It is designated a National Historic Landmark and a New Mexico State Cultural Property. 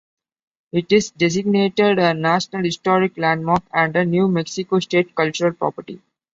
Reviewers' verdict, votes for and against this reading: accepted, 2, 0